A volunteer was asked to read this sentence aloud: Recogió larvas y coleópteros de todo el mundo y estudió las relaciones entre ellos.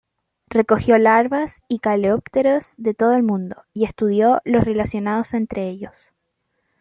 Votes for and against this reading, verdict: 0, 2, rejected